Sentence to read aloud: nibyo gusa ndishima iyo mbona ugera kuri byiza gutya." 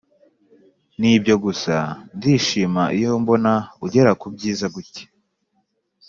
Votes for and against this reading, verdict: 2, 0, accepted